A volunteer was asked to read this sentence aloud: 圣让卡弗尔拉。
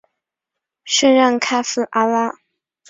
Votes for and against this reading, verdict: 1, 2, rejected